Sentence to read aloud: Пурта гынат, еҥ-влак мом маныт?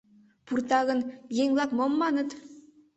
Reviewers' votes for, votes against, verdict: 1, 2, rejected